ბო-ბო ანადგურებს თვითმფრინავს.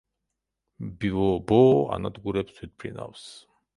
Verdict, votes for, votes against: rejected, 0, 2